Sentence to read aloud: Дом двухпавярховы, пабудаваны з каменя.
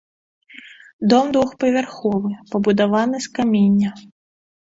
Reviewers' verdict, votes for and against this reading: rejected, 1, 2